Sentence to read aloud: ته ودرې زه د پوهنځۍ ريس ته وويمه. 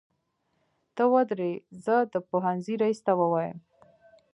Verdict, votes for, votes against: accepted, 2, 0